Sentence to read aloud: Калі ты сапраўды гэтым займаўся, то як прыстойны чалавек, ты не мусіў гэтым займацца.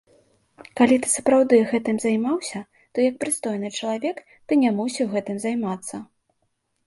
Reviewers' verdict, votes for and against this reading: accepted, 2, 0